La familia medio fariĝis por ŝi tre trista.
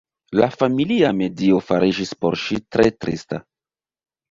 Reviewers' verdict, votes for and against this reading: rejected, 1, 2